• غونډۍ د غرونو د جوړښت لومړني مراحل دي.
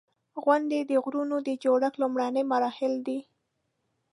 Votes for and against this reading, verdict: 0, 2, rejected